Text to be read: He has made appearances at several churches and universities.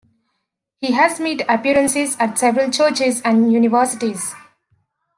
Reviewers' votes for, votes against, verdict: 2, 0, accepted